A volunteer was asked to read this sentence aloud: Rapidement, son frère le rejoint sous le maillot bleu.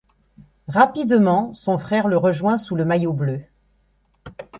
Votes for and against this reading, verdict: 2, 0, accepted